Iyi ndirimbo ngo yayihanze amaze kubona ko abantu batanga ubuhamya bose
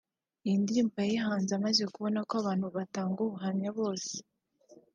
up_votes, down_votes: 1, 2